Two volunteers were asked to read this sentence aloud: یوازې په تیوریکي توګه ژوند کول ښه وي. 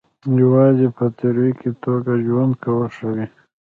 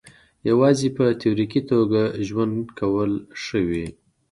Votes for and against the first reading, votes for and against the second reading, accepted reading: 0, 2, 2, 0, second